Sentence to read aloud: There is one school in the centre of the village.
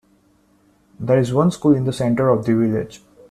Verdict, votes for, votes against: accepted, 2, 0